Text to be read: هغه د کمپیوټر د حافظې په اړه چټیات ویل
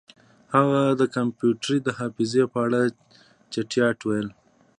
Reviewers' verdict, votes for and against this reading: rejected, 1, 2